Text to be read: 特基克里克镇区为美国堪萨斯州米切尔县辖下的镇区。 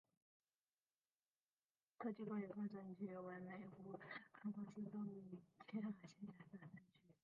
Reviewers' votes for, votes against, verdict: 0, 2, rejected